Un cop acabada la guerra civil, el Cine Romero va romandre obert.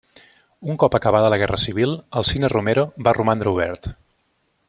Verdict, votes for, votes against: accepted, 2, 0